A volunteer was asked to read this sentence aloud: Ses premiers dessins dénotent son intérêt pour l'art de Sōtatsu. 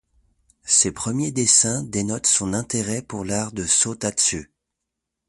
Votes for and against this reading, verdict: 2, 0, accepted